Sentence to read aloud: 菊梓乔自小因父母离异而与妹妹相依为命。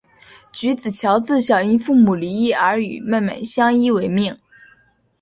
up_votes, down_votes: 2, 0